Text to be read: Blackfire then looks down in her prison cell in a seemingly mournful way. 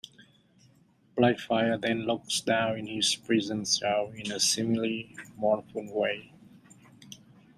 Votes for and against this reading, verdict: 1, 2, rejected